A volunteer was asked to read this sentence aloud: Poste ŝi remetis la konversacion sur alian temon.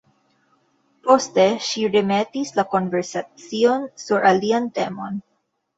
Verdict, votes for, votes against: accepted, 2, 0